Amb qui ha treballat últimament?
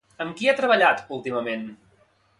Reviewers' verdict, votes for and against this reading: accepted, 2, 0